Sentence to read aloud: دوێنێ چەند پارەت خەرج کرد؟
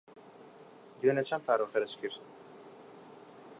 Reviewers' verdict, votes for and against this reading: accepted, 3, 0